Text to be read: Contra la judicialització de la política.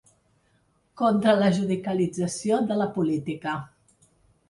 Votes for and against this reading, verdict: 1, 2, rejected